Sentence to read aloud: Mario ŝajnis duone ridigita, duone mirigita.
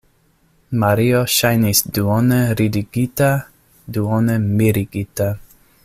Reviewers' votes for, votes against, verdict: 2, 0, accepted